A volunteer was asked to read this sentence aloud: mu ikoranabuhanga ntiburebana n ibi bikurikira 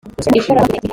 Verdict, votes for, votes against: rejected, 0, 2